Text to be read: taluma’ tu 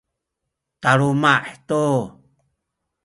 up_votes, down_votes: 2, 0